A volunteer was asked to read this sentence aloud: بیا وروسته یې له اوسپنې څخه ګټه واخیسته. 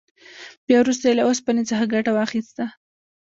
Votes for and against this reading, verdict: 0, 2, rejected